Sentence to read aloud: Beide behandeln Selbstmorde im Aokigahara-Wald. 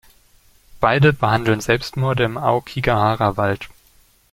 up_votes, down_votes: 2, 0